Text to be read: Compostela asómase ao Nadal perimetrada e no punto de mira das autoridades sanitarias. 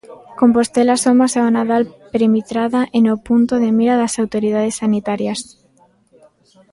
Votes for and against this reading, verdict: 0, 2, rejected